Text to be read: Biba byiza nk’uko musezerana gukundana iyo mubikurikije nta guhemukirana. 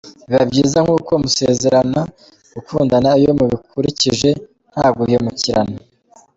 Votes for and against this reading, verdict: 2, 1, accepted